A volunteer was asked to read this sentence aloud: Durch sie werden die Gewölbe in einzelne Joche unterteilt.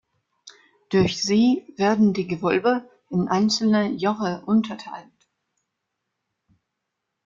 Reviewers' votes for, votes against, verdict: 2, 0, accepted